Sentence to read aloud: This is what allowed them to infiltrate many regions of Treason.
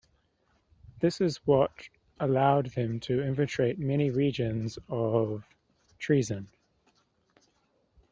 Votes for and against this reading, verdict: 2, 0, accepted